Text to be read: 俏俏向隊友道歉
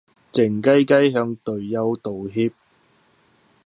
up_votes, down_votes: 0, 2